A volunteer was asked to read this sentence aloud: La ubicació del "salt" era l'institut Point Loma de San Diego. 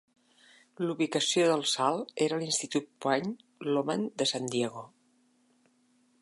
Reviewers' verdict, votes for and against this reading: accepted, 2, 0